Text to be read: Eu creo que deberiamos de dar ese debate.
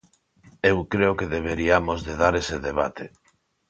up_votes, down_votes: 2, 0